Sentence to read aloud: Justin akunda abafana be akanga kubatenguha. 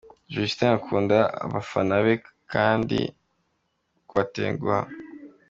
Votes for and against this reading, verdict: 0, 2, rejected